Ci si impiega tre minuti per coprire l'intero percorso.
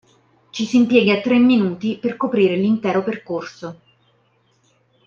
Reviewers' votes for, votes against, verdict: 2, 0, accepted